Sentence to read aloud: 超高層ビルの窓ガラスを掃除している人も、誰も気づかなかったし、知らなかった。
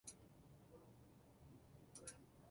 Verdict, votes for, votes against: rejected, 0, 2